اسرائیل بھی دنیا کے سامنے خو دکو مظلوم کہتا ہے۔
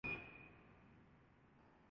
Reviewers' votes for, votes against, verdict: 0, 3, rejected